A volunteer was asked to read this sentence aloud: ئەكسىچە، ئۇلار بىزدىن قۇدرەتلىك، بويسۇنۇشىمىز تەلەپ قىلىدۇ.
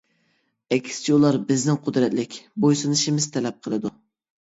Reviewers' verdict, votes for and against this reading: accepted, 2, 1